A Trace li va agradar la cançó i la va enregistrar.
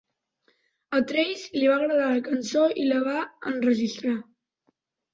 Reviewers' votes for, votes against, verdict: 2, 1, accepted